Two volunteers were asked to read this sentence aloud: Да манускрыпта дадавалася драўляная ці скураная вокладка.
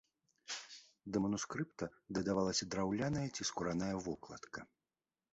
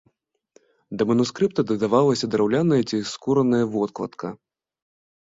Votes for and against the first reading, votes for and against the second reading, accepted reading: 2, 0, 1, 2, first